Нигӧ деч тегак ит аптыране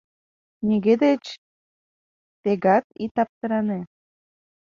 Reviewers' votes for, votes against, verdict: 2, 0, accepted